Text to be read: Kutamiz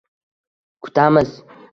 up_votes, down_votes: 2, 1